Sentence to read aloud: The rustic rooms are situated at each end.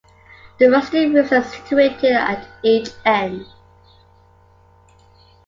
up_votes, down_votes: 2, 0